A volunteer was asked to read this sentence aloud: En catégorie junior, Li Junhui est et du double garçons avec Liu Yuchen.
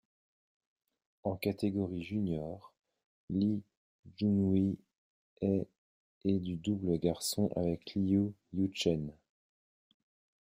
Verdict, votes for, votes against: rejected, 0, 2